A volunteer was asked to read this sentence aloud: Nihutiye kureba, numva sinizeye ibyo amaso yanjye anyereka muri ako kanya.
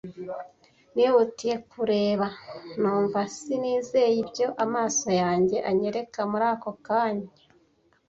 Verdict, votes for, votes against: accepted, 2, 1